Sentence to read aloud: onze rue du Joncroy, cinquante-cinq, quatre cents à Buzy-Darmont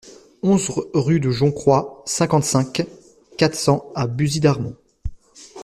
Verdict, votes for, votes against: rejected, 1, 2